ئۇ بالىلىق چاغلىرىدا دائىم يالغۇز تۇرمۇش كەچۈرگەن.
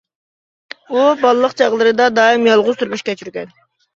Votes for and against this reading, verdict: 2, 0, accepted